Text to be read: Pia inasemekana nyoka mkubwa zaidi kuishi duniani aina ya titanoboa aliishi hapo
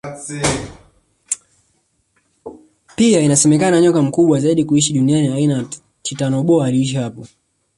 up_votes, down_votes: 0, 2